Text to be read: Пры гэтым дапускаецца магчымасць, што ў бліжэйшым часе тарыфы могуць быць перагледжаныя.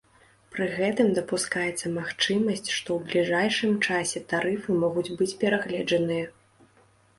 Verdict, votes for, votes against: rejected, 1, 2